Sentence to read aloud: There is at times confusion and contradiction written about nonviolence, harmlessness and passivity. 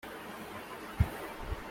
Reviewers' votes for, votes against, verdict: 0, 2, rejected